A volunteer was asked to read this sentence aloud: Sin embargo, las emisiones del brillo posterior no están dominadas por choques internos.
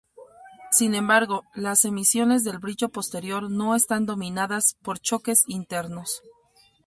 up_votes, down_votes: 2, 0